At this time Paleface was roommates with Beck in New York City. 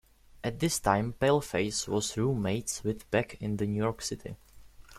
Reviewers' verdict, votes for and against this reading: rejected, 1, 2